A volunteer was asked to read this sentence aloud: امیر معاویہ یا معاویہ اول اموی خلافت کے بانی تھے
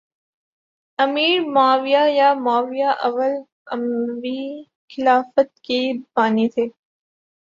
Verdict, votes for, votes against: accepted, 6, 2